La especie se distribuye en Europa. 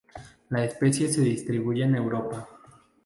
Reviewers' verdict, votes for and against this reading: accepted, 2, 0